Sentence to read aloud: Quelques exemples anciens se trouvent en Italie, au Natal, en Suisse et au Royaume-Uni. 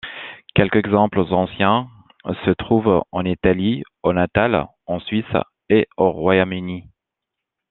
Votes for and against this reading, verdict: 2, 1, accepted